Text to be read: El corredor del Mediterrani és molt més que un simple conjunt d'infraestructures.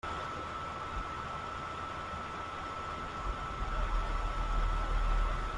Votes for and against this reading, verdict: 0, 2, rejected